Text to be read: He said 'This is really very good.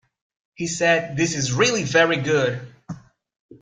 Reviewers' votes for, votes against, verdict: 2, 0, accepted